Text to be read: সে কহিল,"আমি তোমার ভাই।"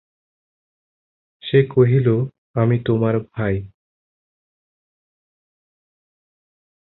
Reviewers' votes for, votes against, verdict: 2, 0, accepted